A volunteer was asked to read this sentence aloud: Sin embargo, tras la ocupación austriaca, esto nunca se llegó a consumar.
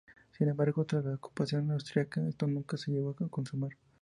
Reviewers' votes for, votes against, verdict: 2, 0, accepted